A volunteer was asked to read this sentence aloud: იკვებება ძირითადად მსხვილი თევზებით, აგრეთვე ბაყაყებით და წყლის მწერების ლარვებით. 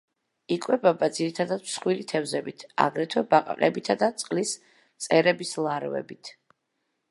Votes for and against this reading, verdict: 2, 0, accepted